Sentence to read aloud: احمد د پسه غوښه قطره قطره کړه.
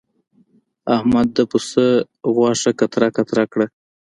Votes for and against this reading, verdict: 2, 0, accepted